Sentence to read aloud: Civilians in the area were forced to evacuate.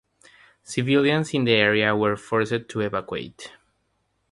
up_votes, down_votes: 0, 3